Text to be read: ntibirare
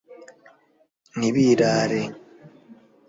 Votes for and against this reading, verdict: 2, 0, accepted